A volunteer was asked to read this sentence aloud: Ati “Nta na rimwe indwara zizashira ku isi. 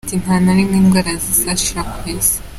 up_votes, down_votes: 2, 1